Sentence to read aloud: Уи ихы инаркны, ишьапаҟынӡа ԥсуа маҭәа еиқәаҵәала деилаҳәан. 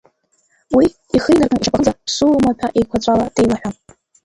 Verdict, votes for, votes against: rejected, 0, 3